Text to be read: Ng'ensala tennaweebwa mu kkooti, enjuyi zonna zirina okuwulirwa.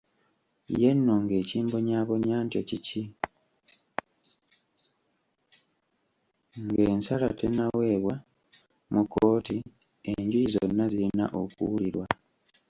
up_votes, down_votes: 0, 2